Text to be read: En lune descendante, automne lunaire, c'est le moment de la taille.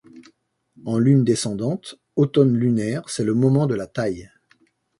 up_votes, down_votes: 2, 0